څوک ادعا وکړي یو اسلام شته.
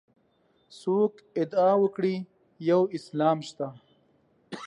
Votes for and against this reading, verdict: 2, 0, accepted